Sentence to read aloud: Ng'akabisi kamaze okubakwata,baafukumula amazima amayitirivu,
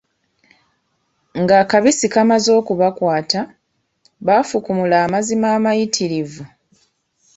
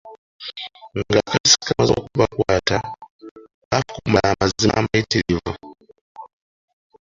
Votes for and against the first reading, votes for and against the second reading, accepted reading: 2, 1, 0, 2, first